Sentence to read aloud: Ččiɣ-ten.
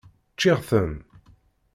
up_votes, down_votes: 2, 0